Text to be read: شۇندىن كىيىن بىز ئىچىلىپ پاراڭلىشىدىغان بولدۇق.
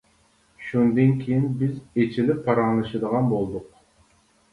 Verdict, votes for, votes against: accepted, 2, 0